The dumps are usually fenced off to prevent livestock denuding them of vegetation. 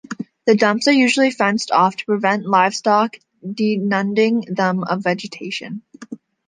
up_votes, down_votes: 0, 2